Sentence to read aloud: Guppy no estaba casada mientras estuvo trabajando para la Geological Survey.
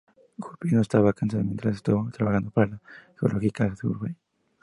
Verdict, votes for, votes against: rejected, 0, 6